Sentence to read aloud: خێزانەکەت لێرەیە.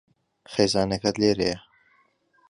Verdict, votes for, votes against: accepted, 2, 0